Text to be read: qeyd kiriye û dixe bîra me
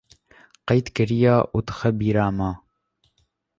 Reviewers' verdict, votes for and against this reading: accepted, 2, 0